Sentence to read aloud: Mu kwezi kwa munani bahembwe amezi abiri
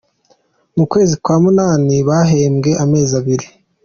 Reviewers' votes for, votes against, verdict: 2, 0, accepted